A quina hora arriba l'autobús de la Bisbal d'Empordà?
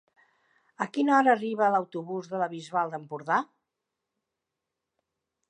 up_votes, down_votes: 4, 0